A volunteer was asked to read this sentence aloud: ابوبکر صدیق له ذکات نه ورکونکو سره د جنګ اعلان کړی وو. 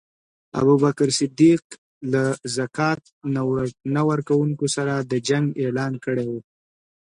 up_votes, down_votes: 2, 0